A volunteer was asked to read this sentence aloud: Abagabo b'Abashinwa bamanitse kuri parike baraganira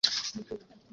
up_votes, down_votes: 0, 2